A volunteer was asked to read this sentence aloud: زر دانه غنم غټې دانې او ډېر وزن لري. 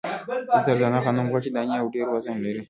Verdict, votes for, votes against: rejected, 0, 2